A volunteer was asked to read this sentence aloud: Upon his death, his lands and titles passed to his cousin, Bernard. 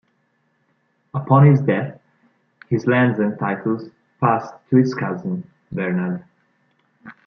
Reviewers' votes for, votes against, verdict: 2, 0, accepted